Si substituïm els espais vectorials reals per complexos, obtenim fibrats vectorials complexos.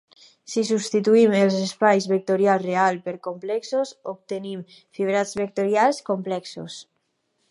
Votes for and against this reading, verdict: 0, 2, rejected